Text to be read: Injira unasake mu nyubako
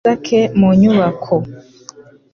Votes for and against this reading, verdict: 0, 2, rejected